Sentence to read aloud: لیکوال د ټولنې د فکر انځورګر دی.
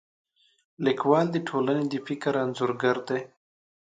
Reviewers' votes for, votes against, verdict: 2, 0, accepted